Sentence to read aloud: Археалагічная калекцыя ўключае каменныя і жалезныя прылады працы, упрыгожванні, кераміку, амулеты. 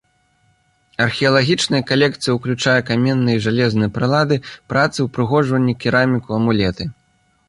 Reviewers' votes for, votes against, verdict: 1, 2, rejected